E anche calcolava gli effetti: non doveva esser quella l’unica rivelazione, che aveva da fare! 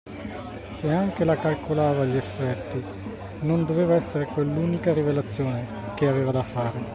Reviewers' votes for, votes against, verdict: 0, 2, rejected